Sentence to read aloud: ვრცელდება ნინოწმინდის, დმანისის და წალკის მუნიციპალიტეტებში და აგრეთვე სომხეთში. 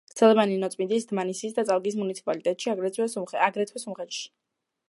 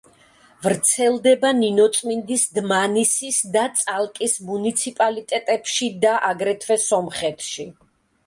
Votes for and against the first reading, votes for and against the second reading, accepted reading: 0, 2, 2, 0, second